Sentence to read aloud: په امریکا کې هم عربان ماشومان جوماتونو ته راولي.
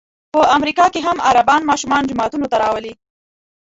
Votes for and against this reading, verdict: 2, 0, accepted